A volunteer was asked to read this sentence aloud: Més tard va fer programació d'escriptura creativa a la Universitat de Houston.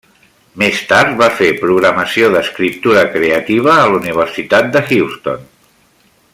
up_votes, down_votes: 3, 0